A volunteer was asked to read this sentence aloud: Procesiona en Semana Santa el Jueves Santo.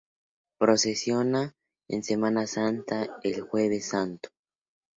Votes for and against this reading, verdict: 2, 0, accepted